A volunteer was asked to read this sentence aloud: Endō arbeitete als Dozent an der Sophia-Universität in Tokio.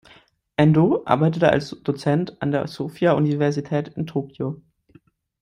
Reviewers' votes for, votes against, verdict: 2, 1, accepted